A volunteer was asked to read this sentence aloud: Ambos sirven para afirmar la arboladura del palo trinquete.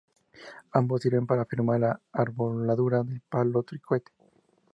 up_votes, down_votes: 4, 0